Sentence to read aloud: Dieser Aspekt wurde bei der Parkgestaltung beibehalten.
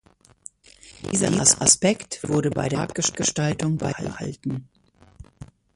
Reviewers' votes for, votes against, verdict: 0, 2, rejected